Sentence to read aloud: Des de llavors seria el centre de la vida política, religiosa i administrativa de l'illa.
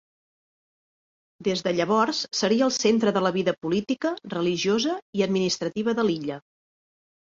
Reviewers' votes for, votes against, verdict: 3, 0, accepted